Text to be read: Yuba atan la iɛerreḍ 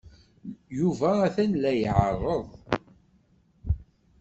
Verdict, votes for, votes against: accepted, 3, 0